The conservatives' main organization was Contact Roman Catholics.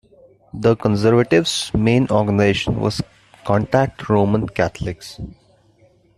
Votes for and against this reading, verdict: 0, 2, rejected